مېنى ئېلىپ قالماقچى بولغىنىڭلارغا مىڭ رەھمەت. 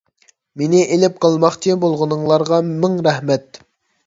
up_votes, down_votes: 2, 0